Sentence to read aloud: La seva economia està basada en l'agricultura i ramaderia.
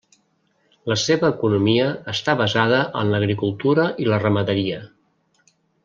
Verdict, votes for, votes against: rejected, 0, 2